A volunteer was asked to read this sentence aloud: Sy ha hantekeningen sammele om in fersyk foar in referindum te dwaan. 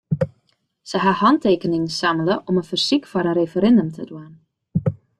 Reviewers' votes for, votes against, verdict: 1, 2, rejected